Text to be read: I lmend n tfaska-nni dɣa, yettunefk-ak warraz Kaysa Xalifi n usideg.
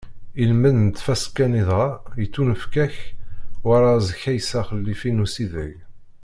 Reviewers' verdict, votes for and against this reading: rejected, 1, 2